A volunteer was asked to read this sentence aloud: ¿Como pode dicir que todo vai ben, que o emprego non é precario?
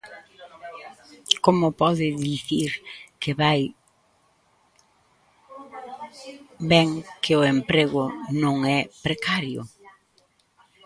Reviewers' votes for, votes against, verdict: 0, 2, rejected